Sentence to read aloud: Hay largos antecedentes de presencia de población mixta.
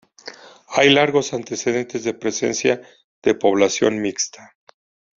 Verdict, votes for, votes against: accepted, 2, 0